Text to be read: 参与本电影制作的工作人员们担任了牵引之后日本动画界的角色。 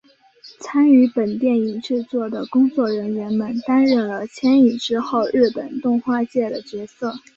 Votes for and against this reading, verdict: 2, 0, accepted